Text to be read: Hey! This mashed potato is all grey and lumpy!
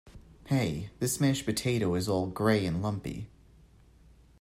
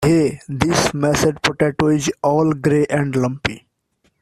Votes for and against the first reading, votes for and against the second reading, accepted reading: 2, 0, 0, 2, first